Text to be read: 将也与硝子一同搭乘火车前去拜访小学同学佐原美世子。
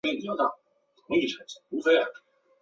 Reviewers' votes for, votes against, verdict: 0, 2, rejected